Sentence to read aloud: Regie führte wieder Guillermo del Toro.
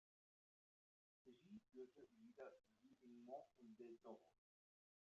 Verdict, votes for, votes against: rejected, 0, 2